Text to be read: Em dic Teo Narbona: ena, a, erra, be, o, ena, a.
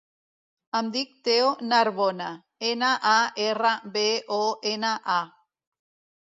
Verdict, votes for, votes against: rejected, 1, 2